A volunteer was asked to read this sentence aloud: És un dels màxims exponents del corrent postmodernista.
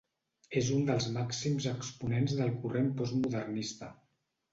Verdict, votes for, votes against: accepted, 2, 0